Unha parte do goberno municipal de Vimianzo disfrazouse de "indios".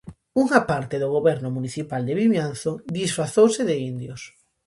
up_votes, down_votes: 2, 0